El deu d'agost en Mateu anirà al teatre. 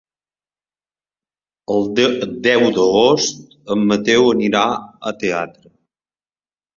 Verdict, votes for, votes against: rejected, 1, 3